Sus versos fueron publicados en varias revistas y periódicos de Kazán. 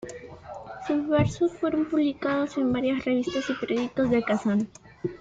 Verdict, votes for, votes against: accepted, 2, 0